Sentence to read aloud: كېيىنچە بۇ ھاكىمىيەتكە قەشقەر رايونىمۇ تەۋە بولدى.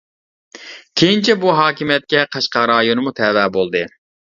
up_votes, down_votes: 2, 1